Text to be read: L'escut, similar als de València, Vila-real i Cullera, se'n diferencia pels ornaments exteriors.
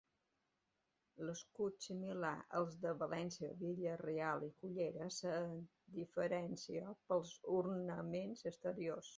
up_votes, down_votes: 2, 1